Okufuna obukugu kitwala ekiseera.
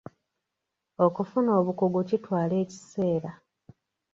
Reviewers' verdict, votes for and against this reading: accepted, 2, 1